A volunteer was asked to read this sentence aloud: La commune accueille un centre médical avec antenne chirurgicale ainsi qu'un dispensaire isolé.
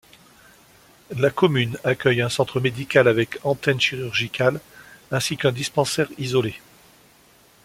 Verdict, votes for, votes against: accepted, 2, 0